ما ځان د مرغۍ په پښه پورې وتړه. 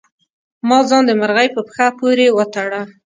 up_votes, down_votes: 2, 0